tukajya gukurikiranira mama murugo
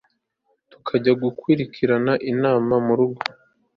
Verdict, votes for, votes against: accepted, 2, 1